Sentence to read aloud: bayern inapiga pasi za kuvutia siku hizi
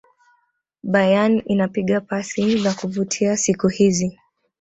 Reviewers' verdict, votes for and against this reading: rejected, 1, 2